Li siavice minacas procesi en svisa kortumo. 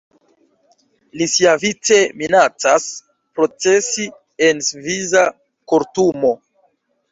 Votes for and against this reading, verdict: 0, 2, rejected